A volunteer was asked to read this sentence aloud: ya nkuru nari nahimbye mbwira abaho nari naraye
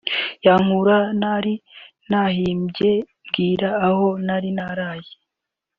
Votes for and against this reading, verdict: 0, 2, rejected